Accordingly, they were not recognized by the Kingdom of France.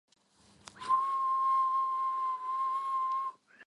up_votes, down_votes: 0, 2